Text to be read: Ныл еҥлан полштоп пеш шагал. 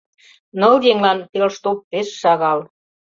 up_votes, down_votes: 0, 2